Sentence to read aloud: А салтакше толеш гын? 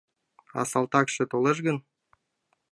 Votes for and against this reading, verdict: 2, 0, accepted